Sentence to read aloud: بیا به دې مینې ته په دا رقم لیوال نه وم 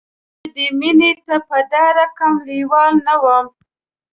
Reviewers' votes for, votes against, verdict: 1, 2, rejected